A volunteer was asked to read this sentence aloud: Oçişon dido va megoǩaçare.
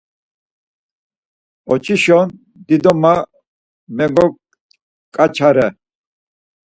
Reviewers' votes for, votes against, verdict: 2, 4, rejected